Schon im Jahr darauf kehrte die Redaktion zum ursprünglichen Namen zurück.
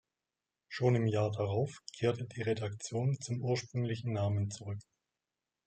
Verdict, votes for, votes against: accepted, 2, 0